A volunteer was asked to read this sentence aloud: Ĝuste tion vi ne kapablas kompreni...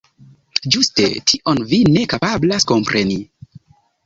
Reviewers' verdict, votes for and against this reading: accepted, 2, 0